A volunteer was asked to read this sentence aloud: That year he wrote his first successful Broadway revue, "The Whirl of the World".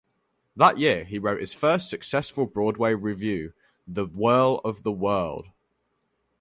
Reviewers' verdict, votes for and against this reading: accepted, 4, 0